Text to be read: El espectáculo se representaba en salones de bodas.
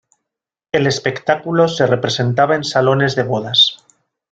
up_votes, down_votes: 2, 0